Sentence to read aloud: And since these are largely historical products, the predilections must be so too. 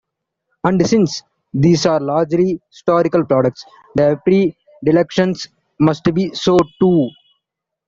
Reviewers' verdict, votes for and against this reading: accepted, 2, 0